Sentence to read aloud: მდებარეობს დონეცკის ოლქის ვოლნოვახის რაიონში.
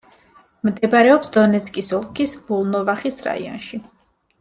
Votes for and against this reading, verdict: 2, 0, accepted